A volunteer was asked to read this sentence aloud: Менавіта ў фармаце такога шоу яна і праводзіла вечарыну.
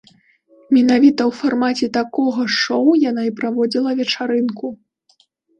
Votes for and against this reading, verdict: 1, 2, rejected